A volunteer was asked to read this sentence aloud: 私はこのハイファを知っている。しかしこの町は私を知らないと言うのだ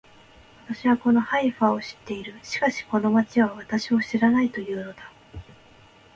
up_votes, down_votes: 2, 0